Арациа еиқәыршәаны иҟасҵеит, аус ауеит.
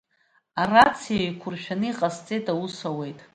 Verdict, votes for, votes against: accepted, 2, 0